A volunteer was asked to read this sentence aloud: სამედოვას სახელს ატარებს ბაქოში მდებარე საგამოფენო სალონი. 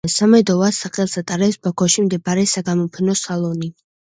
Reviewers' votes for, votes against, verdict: 2, 0, accepted